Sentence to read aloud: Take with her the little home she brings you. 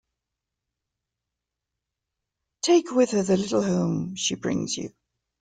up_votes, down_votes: 0, 2